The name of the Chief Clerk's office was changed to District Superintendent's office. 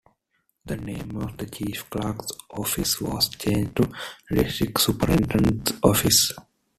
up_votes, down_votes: 2, 1